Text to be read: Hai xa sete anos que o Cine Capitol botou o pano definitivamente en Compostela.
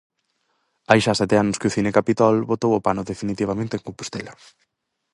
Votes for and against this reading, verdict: 4, 0, accepted